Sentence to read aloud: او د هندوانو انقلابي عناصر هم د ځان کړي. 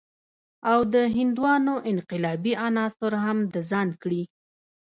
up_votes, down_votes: 0, 2